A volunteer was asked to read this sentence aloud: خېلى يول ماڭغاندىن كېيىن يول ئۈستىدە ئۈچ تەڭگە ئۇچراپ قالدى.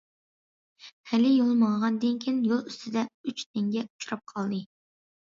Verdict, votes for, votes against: accepted, 2, 0